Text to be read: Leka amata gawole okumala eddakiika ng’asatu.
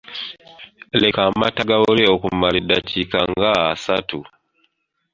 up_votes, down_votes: 0, 2